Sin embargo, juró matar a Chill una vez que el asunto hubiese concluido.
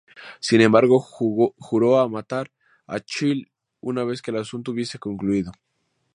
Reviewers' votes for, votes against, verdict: 2, 0, accepted